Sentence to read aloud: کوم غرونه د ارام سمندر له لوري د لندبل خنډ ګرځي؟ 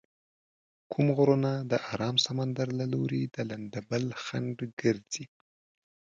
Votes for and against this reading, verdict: 2, 0, accepted